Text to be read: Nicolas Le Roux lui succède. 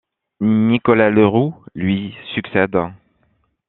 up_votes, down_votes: 2, 0